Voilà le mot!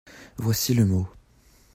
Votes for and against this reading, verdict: 0, 2, rejected